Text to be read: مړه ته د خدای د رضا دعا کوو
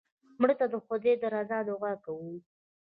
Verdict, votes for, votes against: accepted, 2, 0